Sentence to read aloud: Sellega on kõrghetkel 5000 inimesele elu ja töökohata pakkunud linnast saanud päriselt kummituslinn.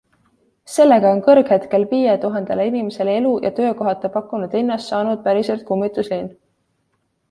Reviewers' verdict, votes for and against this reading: rejected, 0, 2